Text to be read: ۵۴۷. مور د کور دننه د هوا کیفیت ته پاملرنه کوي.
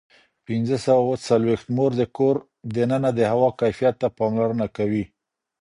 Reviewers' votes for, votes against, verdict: 0, 2, rejected